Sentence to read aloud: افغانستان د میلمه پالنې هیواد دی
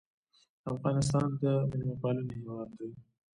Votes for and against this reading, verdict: 2, 0, accepted